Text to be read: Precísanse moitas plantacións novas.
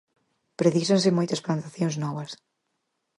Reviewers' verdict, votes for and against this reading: accepted, 4, 0